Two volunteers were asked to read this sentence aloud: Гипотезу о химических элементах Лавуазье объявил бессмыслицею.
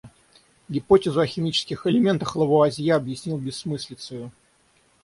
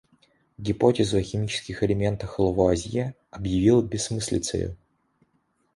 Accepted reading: second